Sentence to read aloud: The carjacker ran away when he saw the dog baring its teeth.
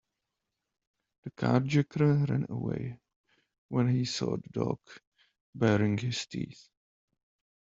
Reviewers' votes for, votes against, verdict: 1, 2, rejected